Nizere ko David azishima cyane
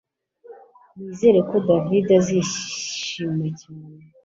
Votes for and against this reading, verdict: 2, 0, accepted